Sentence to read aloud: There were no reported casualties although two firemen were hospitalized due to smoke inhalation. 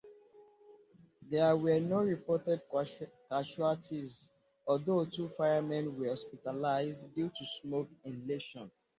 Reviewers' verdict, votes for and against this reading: rejected, 0, 2